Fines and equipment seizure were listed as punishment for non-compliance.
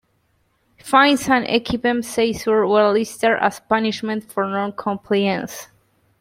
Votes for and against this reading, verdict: 1, 2, rejected